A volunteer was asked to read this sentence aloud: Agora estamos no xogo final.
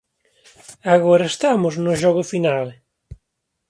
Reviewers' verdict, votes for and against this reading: rejected, 0, 2